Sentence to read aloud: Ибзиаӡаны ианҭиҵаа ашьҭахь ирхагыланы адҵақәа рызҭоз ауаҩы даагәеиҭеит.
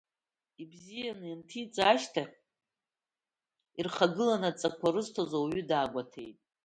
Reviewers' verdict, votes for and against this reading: accepted, 2, 0